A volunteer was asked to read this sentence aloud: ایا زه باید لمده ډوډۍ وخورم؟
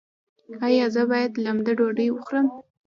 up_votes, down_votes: 1, 2